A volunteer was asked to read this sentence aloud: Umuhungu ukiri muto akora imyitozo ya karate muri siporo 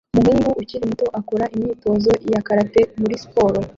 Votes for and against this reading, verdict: 0, 2, rejected